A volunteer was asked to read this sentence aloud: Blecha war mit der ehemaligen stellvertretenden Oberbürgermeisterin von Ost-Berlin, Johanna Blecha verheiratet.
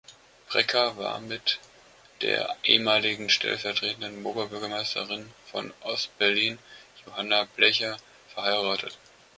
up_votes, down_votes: 2, 1